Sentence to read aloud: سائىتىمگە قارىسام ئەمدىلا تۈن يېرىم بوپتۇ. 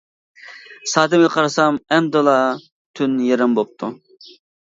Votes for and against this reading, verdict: 0, 2, rejected